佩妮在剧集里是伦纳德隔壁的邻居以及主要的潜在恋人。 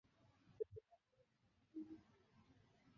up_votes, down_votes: 0, 5